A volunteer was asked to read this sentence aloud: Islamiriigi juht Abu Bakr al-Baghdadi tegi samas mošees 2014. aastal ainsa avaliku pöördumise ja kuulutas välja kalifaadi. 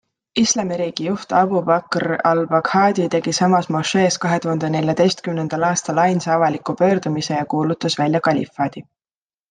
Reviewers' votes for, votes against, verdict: 0, 2, rejected